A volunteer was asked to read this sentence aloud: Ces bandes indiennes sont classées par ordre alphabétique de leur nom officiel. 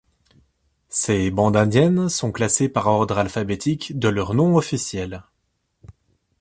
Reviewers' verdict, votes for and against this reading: accepted, 2, 0